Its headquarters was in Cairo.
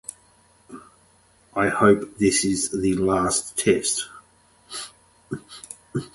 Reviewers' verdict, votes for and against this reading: rejected, 0, 10